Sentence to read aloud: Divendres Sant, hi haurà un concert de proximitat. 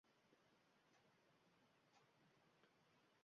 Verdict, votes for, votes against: rejected, 0, 2